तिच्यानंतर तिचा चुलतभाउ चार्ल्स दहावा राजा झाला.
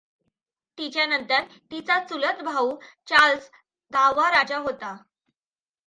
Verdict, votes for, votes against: accepted, 2, 0